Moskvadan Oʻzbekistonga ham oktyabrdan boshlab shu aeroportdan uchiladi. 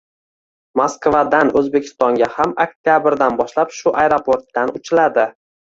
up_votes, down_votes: 2, 0